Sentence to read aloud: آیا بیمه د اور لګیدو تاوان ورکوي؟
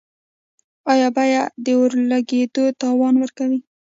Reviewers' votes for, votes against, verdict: 2, 1, accepted